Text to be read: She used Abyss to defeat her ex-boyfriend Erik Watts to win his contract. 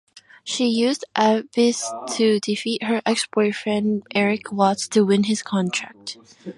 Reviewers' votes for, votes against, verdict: 2, 0, accepted